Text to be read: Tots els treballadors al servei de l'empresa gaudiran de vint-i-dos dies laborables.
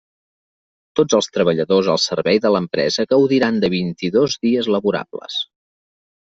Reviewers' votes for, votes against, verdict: 3, 0, accepted